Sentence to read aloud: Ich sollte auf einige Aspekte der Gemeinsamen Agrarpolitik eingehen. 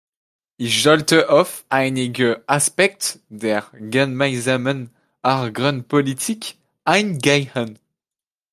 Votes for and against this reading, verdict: 0, 2, rejected